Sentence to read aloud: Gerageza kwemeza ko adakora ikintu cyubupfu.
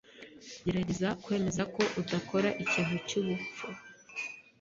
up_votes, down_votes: 0, 2